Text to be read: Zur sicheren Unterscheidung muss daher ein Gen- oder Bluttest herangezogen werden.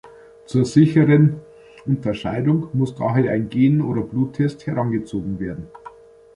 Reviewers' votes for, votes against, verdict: 2, 0, accepted